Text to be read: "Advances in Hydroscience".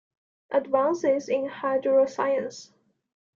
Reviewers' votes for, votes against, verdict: 2, 0, accepted